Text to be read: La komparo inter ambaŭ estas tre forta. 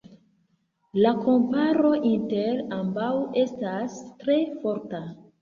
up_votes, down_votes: 1, 2